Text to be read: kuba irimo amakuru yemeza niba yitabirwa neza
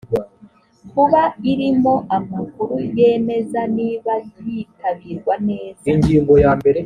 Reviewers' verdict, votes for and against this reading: rejected, 1, 2